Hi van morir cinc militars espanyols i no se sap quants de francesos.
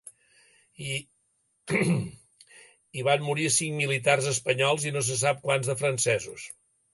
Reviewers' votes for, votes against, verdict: 1, 2, rejected